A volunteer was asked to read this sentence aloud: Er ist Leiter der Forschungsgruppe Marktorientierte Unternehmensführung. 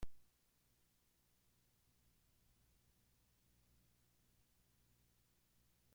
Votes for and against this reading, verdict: 0, 3, rejected